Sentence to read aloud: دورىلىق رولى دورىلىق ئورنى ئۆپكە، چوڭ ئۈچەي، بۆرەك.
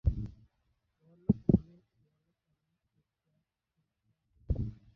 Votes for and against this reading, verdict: 0, 2, rejected